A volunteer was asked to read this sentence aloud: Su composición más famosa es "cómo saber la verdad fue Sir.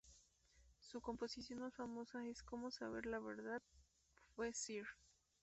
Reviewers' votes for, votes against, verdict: 0, 2, rejected